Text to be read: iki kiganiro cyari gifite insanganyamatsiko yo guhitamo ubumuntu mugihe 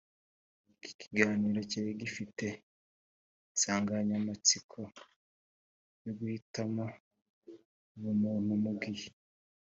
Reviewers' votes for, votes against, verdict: 2, 0, accepted